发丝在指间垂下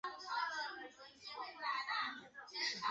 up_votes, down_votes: 0, 2